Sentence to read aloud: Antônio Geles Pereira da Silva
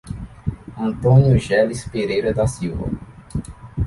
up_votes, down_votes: 2, 0